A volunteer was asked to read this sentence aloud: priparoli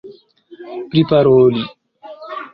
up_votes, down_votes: 2, 0